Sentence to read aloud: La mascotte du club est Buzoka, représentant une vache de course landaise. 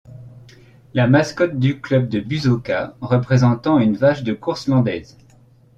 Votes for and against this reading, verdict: 1, 2, rejected